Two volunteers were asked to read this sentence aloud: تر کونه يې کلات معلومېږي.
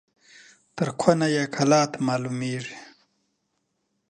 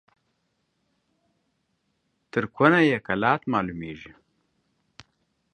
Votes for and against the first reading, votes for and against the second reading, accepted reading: 2, 0, 1, 2, first